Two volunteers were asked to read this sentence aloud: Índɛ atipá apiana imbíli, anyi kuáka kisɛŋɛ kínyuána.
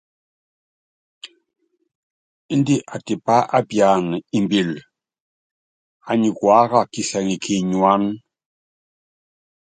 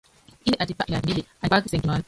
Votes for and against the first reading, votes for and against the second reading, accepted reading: 2, 0, 1, 2, first